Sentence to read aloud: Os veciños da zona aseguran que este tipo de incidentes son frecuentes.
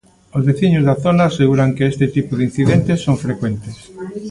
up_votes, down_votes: 1, 2